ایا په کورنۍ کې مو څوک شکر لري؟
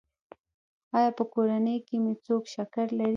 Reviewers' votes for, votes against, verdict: 0, 2, rejected